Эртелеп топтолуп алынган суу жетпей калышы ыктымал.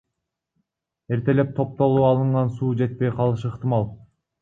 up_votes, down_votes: 0, 2